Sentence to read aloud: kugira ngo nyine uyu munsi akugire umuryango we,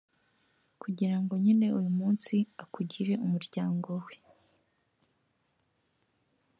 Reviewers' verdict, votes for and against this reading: accepted, 2, 0